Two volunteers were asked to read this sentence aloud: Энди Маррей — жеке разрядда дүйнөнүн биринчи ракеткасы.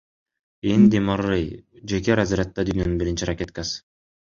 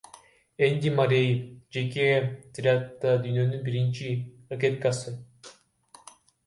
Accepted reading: first